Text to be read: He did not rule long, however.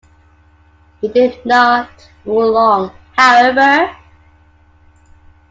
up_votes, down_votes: 2, 1